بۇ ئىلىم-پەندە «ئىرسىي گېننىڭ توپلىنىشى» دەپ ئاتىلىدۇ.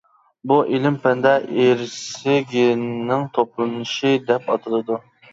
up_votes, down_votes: 1, 2